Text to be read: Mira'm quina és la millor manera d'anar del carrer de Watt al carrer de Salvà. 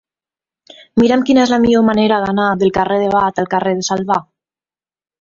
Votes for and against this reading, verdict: 2, 4, rejected